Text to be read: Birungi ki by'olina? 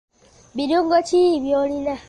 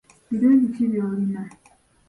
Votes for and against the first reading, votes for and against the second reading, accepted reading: 0, 2, 2, 1, second